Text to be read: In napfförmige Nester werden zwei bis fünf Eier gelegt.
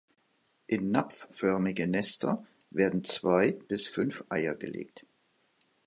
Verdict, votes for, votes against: accepted, 2, 0